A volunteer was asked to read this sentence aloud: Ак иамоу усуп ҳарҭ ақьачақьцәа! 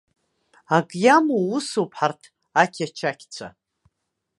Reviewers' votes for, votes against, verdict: 2, 0, accepted